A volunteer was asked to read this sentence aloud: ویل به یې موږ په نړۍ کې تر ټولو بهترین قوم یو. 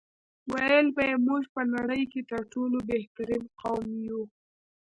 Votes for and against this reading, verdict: 0, 2, rejected